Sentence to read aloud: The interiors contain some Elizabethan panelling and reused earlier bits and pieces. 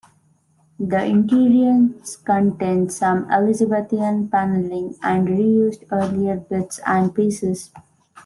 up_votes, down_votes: 1, 2